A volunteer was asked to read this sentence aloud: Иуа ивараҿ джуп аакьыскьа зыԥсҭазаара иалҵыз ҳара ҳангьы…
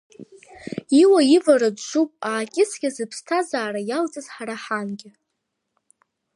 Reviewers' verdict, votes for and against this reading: rejected, 0, 2